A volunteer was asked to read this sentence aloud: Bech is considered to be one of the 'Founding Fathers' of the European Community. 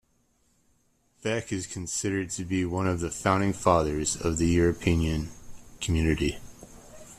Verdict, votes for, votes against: rejected, 1, 2